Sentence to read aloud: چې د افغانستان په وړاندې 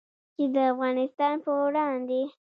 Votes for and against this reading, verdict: 0, 2, rejected